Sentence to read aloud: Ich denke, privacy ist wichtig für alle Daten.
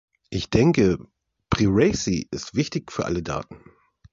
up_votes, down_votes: 0, 2